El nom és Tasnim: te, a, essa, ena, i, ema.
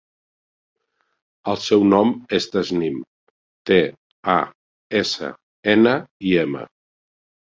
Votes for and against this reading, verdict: 0, 2, rejected